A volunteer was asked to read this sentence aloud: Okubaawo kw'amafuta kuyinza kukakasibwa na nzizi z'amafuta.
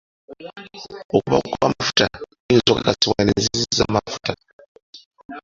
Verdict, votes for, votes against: accepted, 2, 1